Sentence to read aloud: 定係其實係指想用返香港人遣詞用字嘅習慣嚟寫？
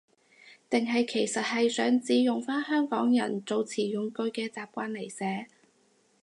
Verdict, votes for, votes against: accepted, 2, 0